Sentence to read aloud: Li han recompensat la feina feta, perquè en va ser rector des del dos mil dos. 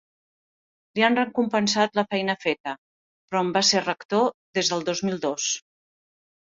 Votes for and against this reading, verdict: 1, 3, rejected